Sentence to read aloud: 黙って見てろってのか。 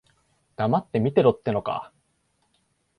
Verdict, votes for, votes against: accepted, 2, 0